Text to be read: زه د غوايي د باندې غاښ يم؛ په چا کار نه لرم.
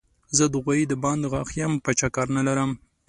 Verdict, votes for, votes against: accepted, 2, 0